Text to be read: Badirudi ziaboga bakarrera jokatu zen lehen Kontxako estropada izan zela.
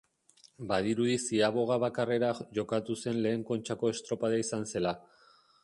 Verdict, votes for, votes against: rejected, 0, 2